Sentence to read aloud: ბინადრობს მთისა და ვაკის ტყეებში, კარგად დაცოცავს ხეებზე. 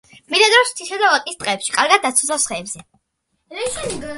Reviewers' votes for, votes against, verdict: 2, 1, accepted